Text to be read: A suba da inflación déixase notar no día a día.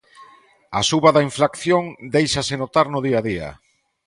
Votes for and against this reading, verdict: 2, 1, accepted